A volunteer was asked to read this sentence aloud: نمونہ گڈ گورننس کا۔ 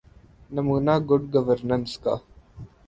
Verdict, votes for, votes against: accepted, 2, 0